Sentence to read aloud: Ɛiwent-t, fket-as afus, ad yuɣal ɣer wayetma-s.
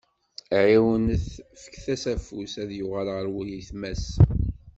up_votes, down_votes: 1, 2